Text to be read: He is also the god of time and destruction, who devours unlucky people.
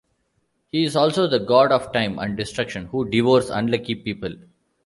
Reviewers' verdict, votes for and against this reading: accepted, 2, 1